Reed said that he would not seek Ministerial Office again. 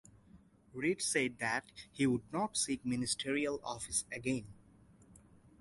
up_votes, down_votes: 4, 0